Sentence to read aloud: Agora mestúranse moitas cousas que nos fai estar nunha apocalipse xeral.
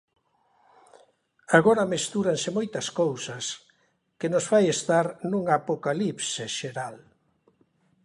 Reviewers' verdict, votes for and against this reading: accepted, 2, 0